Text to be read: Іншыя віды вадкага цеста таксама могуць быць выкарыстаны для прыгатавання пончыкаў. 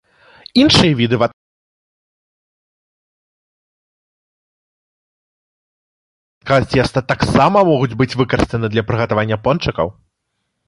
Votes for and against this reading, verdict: 0, 2, rejected